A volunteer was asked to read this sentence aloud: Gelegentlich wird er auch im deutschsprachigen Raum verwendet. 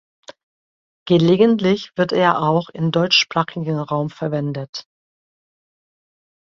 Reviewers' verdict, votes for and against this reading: accepted, 2, 0